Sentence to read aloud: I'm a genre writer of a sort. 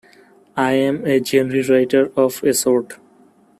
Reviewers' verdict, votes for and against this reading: rejected, 1, 2